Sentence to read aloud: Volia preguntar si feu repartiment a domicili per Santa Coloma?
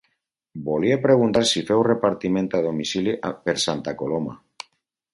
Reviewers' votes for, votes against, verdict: 0, 2, rejected